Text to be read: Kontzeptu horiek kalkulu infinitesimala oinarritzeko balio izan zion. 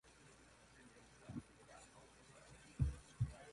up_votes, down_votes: 0, 2